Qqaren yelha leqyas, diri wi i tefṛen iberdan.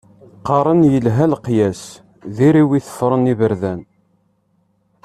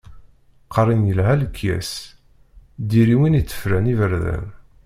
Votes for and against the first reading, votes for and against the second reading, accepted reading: 2, 0, 0, 2, first